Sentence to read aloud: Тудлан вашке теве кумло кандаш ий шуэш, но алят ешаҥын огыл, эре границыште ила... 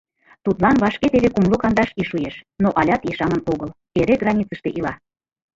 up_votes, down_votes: 2, 0